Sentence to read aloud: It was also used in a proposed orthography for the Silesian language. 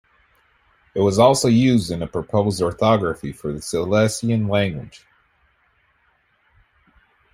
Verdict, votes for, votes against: accepted, 2, 0